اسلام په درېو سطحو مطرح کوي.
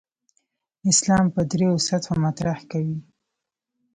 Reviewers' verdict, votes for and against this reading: accepted, 2, 0